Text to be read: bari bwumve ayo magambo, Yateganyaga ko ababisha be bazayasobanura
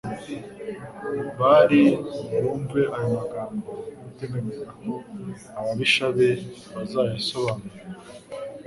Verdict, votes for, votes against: rejected, 1, 2